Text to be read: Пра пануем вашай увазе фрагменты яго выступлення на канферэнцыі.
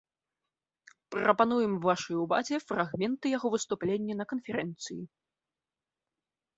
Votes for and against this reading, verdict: 2, 0, accepted